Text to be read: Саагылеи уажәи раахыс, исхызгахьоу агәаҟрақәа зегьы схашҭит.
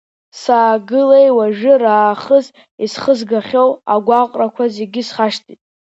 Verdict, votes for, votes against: accepted, 3, 1